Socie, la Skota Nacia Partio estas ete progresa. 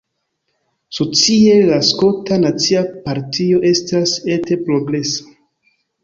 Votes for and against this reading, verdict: 1, 2, rejected